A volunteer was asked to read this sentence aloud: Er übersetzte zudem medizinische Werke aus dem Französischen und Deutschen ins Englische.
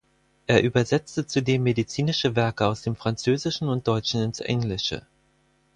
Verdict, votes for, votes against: accepted, 4, 0